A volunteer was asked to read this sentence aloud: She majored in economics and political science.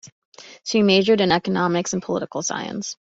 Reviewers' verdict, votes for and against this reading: accepted, 2, 0